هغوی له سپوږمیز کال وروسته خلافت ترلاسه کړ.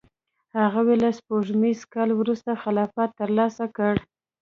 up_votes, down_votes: 1, 2